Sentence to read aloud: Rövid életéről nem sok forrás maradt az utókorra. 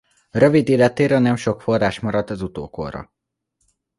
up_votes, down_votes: 2, 0